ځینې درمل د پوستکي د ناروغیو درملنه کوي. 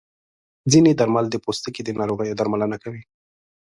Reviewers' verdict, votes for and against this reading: accepted, 2, 0